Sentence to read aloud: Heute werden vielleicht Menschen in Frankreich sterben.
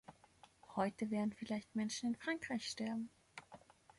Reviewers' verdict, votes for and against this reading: accepted, 2, 0